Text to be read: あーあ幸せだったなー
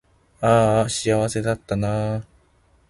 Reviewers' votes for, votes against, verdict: 2, 0, accepted